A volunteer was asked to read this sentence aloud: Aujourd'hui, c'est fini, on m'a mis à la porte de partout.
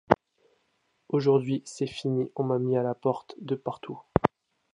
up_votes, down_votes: 2, 0